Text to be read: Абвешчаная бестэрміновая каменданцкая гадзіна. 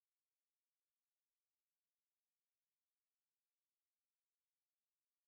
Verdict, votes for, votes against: rejected, 0, 2